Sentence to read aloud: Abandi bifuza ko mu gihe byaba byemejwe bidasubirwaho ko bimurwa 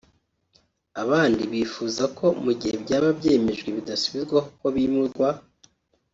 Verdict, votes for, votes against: rejected, 0, 2